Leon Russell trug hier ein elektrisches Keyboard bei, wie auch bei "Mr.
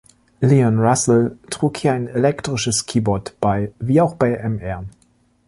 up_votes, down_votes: 1, 2